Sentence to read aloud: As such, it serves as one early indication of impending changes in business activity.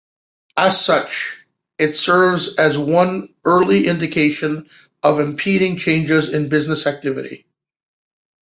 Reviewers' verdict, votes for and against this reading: rejected, 0, 2